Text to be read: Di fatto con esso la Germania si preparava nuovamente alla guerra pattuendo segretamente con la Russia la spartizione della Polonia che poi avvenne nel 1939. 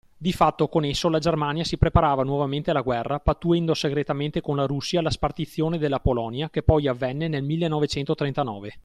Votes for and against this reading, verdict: 0, 2, rejected